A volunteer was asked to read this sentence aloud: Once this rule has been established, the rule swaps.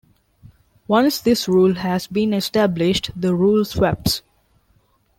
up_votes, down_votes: 2, 0